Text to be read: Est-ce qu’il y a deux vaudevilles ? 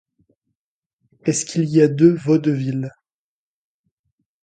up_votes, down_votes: 2, 0